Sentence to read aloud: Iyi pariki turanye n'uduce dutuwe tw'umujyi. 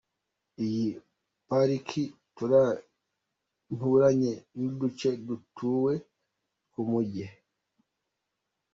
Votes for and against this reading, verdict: 1, 2, rejected